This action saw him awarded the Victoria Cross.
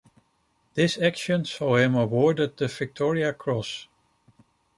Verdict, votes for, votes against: accepted, 2, 0